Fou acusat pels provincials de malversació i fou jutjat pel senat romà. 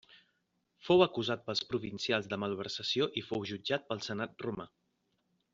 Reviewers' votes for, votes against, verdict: 3, 0, accepted